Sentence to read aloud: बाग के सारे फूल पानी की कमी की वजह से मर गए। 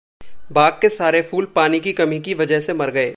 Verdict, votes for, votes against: accepted, 2, 0